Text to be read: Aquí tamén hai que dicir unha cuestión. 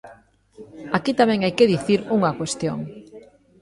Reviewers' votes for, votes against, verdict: 1, 2, rejected